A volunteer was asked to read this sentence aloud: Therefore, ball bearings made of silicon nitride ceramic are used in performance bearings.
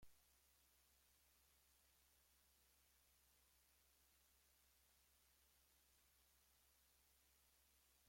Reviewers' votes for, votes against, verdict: 2, 0, accepted